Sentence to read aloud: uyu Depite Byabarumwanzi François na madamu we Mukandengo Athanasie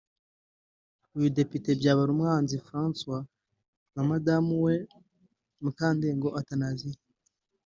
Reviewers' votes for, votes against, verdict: 2, 0, accepted